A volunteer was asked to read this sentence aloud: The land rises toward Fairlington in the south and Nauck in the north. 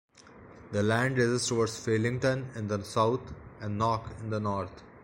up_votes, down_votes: 0, 2